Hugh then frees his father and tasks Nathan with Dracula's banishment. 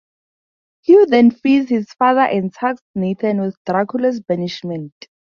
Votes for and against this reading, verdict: 2, 0, accepted